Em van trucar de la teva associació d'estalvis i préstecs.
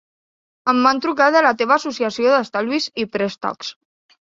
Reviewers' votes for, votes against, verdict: 2, 0, accepted